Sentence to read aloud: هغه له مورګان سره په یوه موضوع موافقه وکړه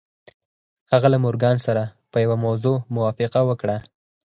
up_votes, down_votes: 2, 4